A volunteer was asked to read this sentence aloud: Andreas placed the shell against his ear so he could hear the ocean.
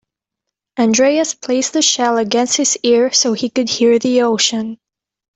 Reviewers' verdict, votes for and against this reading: accepted, 2, 0